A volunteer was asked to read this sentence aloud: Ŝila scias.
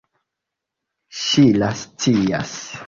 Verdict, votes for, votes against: accepted, 2, 0